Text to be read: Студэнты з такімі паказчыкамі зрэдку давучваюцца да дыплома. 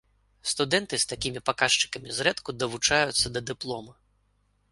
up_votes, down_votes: 0, 2